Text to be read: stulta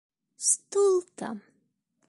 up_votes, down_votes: 1, 2